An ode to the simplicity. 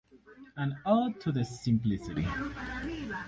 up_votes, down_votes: 4, 0